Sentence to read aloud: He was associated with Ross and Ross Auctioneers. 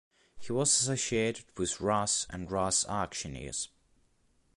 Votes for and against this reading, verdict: 1, 2, rejected